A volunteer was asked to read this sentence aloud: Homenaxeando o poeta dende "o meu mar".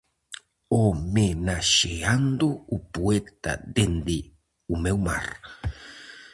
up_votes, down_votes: 0, 4